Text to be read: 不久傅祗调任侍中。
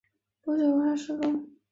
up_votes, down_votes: 0, 3